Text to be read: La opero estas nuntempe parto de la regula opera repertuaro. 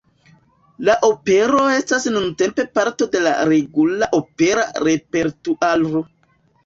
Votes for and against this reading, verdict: 2, 0, accepted